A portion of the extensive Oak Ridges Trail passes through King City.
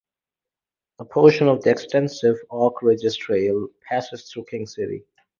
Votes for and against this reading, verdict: 2, 2, rejected